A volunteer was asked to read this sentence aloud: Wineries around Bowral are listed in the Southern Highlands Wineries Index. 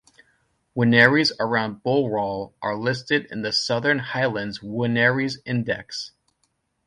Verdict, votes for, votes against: rejected, 0, 2